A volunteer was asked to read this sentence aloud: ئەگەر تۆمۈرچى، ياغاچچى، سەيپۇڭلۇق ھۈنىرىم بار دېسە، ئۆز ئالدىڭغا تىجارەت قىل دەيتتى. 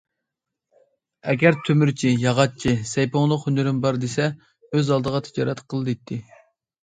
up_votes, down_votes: 1, 2